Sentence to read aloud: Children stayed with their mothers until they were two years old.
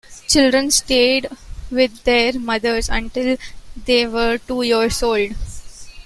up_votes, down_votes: 2, 0